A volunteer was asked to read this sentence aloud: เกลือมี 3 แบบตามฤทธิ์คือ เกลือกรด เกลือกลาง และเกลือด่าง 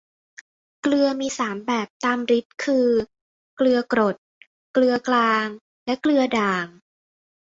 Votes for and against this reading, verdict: 0, 2, rejected